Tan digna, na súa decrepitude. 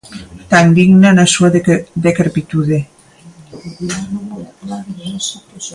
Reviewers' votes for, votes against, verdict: 0, 2, rejected